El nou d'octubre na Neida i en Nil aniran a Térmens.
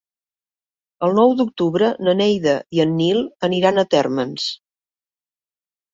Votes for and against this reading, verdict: 3, 0, accepted